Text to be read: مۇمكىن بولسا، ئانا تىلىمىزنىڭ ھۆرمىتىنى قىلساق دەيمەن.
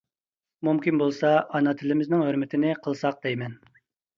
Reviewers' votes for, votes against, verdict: 2, 0, accepted